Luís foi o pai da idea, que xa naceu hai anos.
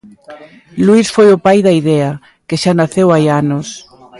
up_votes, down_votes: 2, 0